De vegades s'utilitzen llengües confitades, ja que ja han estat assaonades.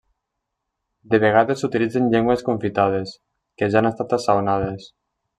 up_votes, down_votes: 1, 2